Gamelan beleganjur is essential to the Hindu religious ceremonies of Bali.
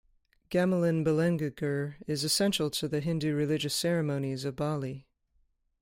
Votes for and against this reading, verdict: 1, 2, rejected